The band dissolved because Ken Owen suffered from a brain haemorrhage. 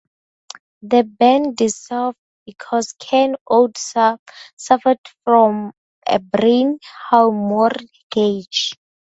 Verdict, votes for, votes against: rejected, 0, 2